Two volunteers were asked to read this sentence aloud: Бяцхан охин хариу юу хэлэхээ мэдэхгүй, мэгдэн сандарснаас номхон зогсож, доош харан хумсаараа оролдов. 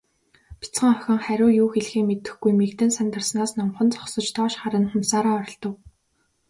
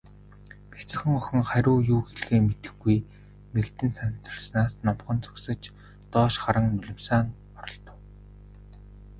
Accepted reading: first